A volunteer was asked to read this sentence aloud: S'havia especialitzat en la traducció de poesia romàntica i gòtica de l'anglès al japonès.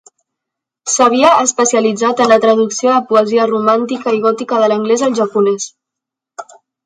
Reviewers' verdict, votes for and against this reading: accepted, 4, 0